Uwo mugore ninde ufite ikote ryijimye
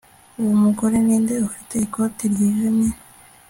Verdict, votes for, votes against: accepted, 3, 0